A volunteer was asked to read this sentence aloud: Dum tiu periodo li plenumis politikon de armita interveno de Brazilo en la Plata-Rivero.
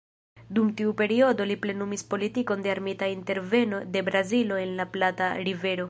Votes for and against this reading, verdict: 1, 2, rejected